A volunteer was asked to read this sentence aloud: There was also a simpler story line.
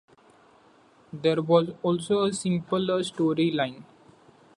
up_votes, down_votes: 2, 0